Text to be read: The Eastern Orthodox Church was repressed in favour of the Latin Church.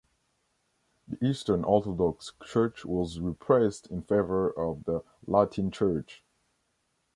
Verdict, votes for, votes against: accepted, 2, 0